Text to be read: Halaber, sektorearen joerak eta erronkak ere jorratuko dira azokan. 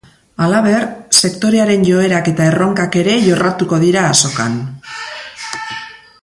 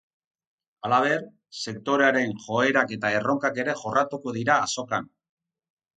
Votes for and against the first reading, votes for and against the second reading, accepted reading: 1, 3, 2, 0, second